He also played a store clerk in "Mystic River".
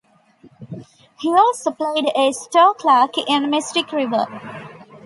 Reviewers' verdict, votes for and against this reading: accepted, 2, 0